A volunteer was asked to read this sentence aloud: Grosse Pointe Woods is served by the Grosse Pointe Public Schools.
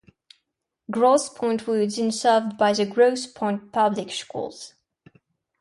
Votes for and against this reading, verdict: 0, 2, rejected